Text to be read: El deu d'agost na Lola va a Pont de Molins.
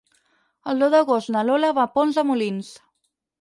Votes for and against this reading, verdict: 4, 0, accepted